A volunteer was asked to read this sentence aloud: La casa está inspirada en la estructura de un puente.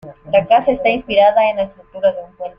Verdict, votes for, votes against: accepted, 2, 0